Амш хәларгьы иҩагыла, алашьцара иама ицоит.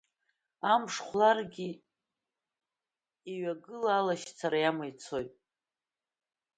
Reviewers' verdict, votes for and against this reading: accepted, 2, 1